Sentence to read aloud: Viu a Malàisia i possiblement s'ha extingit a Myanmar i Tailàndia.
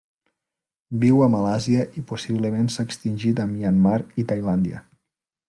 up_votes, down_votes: 0, 2